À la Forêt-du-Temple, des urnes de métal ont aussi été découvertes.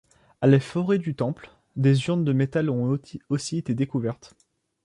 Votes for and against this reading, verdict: 1, 2, rejected